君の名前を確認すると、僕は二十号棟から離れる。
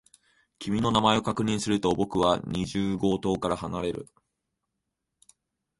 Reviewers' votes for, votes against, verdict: 3, 0, accepted